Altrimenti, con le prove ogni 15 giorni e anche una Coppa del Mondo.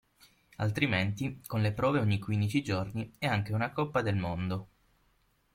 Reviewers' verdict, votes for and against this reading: rejected, 0, 2